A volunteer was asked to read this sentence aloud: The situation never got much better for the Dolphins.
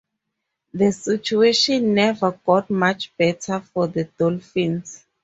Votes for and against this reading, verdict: 4, 0, accepted